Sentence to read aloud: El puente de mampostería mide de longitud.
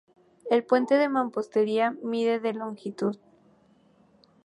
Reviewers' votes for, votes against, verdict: 2, 0, accepted